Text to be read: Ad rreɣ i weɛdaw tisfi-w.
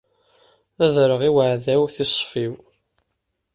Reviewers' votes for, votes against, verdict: 0, 2, rejected